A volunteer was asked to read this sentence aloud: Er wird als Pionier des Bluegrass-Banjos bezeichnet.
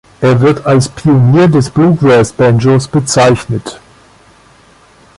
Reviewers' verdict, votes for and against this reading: accepted, 2, 0